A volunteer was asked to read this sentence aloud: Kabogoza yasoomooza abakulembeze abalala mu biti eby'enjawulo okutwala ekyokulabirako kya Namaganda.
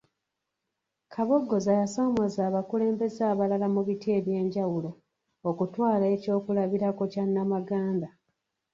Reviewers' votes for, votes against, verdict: 2, 1, accepted